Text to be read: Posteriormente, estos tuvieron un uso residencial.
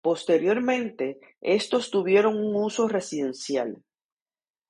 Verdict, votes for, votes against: accepted, 2, 0